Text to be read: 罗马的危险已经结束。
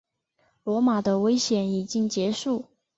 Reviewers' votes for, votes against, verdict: 2, 0, accepted